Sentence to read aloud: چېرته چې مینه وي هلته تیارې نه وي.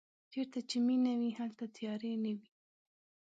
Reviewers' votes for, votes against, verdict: 2, 0, accepted